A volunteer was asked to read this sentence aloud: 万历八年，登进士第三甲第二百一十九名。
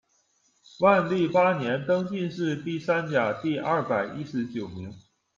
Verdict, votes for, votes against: accepted, 2, 0